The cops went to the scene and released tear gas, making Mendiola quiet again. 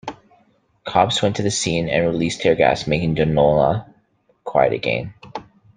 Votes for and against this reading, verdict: 2, 0, accepted